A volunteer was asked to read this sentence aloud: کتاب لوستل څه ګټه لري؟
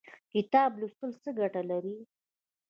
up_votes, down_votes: 2, 0